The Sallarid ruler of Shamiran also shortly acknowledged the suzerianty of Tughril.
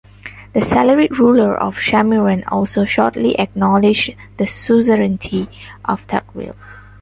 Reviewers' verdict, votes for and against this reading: accepted, 2, 0